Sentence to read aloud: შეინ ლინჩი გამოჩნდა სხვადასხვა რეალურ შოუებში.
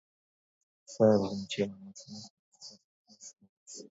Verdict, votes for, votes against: rejected, 0, 2